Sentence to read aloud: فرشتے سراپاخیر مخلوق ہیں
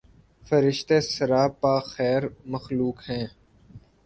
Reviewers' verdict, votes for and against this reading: accepted, 2, 0